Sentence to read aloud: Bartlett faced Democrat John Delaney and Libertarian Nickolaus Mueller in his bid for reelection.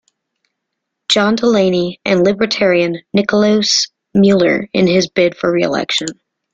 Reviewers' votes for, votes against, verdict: 0, 2, rejected